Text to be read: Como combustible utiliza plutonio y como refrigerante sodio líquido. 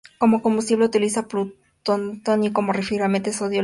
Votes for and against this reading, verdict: 0, 2, rejected